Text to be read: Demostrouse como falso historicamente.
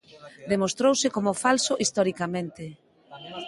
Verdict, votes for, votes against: rejected, 1, 2